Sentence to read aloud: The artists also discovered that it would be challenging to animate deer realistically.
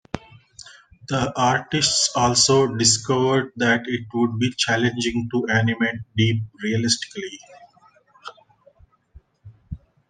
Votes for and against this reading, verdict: 0, 2, rejected